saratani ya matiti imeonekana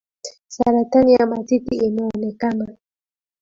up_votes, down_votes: 2, 0